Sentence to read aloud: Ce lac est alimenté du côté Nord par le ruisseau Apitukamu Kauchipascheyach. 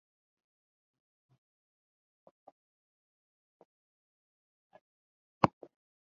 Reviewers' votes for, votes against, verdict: 0, 2, rejected